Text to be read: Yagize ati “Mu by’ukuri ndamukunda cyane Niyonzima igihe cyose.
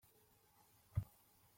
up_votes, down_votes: 0, 3